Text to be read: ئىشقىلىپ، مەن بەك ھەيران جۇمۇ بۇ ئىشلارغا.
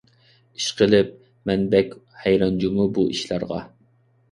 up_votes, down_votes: 2, 0